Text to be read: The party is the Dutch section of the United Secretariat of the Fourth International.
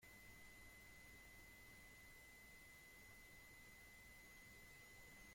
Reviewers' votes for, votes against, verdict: 0, 2, rejected